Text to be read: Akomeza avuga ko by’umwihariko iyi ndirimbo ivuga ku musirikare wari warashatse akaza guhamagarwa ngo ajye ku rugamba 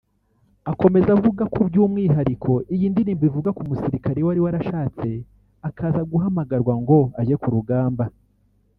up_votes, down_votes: 2, 0